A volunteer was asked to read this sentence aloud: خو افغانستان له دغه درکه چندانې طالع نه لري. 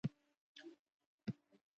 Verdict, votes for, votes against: rejected, 1, 2